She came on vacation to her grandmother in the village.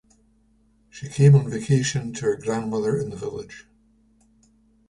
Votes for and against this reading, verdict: 2, 0, accepted